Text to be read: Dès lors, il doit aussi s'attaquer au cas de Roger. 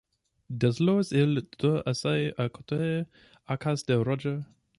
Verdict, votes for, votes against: rejected, 0, 2